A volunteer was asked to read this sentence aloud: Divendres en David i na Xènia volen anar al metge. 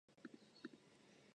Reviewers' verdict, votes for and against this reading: rejected, 1, 2